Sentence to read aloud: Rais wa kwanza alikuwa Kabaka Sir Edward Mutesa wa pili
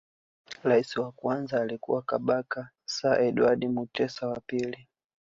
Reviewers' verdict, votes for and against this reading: rejected, 1, 2